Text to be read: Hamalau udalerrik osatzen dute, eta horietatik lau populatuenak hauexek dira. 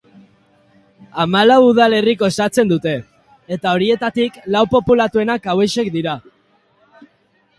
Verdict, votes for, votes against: rejected, 2, 2